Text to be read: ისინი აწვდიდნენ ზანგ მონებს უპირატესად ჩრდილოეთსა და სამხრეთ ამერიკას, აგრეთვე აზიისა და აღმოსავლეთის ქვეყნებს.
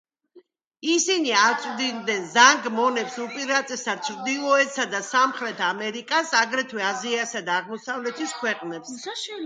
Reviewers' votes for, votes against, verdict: 2, 0, accepted